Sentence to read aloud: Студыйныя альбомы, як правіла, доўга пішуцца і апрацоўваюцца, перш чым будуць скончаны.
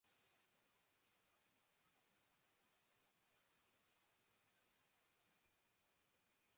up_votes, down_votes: 0, 3